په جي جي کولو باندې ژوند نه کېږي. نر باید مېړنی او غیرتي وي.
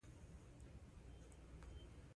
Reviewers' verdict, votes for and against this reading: rejected, 0, 3